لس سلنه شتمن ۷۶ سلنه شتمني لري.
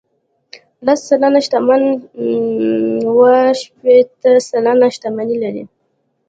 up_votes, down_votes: 0, 2